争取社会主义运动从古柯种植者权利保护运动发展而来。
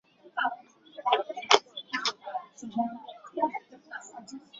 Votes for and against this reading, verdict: 0, 4, rejected